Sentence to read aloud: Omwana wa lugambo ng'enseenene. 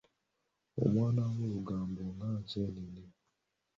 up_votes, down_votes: 2, 1